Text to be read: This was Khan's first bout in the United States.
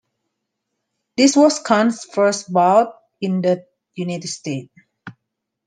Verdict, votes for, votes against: rejected, 0, 2